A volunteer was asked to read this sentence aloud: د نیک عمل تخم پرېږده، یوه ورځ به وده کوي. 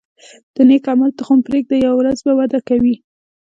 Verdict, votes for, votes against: accepted, 2, 0